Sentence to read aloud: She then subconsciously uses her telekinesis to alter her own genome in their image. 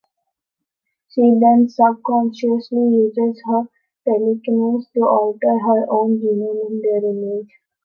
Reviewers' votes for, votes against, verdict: 0, 2, rejected